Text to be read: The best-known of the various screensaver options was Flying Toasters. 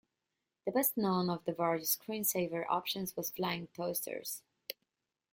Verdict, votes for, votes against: accepted, 2, 0